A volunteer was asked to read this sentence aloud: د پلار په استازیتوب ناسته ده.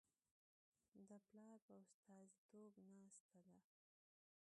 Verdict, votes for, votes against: accepted, 2, 0